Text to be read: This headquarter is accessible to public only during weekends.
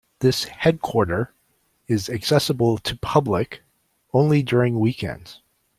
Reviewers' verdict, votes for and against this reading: accepted, 2, 0